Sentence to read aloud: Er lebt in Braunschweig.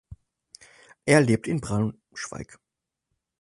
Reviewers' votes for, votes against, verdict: 0, 4, rejected